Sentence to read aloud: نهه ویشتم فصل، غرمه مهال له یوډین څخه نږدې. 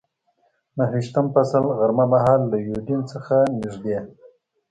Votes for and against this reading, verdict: 2, 0, accepted